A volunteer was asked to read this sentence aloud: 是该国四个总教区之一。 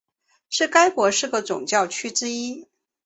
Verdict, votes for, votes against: accepted, 2, 0